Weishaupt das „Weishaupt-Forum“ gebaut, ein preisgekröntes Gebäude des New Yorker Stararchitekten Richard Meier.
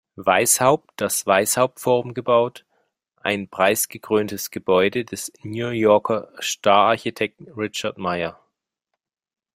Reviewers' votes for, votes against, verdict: 1, 2, rejected